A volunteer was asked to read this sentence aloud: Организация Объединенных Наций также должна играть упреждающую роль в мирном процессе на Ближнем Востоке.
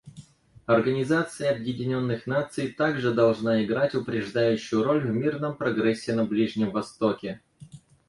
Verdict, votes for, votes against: rejected, 0, 4